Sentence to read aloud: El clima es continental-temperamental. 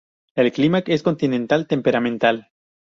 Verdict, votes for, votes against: rejected, 0, 2